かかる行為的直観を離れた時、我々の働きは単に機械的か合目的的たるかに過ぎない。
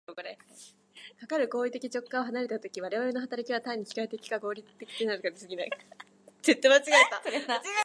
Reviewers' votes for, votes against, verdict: 1, 2, rejected